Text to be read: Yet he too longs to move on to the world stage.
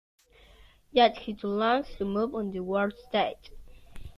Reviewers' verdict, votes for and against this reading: rejected, 0, 2